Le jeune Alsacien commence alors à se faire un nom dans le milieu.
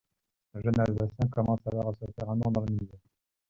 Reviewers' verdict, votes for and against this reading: rejected, 0, 2